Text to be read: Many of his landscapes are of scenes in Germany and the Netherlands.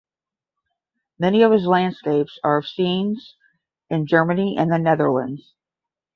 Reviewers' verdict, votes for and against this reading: accepted, 10, 0